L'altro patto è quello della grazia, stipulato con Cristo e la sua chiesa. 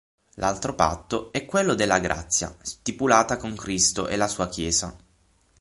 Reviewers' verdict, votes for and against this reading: rejected, 0, 6